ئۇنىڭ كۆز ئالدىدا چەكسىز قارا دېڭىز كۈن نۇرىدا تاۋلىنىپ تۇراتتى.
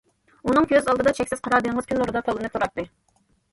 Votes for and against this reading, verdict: 2, 0, accepted